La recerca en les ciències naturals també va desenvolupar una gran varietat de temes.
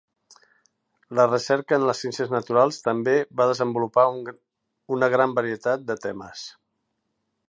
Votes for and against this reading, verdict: 0, 2, rejected